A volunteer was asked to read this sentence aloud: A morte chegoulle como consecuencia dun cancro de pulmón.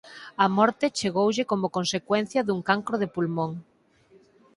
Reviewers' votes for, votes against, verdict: 4, 0, accepted